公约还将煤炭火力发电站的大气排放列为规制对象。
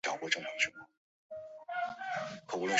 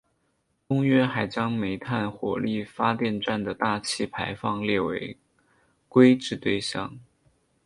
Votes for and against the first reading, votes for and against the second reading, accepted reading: 1, 4, 2, 0, second